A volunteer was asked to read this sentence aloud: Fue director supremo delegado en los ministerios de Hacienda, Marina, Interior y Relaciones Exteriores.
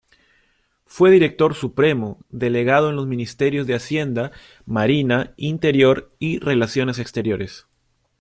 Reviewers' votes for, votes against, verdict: 2, 0, accepted